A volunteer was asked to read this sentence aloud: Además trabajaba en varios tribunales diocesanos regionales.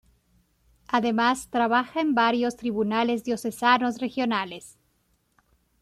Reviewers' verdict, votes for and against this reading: rejected, 0, 2